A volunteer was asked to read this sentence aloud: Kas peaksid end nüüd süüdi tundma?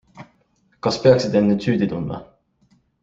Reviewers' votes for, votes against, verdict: 2, 0, accepted